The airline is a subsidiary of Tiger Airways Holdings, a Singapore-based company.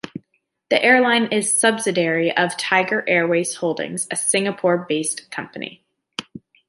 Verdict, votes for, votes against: rejected, 0, 2